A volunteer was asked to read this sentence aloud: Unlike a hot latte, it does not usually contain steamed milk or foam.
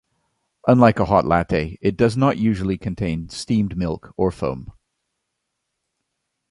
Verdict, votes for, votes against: accepted, 2, 0